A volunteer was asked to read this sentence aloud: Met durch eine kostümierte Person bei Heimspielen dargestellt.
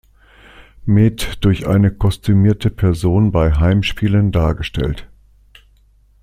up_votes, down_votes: 2, 0